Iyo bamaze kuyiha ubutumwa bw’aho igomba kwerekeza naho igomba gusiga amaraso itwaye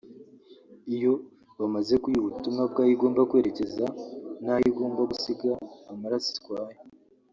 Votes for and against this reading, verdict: 1, 2, rejected